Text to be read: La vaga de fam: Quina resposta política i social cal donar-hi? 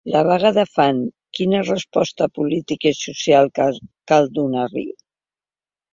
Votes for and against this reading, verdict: 1, 3, rejected